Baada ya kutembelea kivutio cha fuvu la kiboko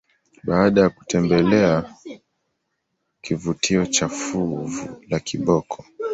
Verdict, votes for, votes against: rejected, 1, 2